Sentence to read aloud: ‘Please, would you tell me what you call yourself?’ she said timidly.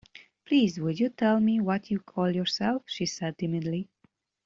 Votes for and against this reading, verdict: 2, 0, accepted